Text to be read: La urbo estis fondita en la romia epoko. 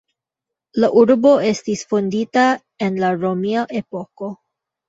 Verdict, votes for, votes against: rejected, 1, 2